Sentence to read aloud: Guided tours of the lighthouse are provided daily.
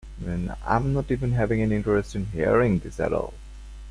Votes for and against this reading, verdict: 0, 2, rejected